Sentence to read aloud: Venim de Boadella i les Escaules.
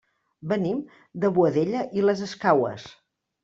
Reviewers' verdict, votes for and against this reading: rejected, 0, 2